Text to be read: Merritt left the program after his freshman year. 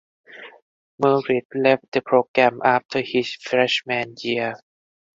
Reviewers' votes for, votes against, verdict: 4, 0, accepted